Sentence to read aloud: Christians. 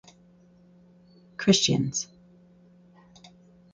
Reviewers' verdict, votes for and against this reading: accepted, 4, 2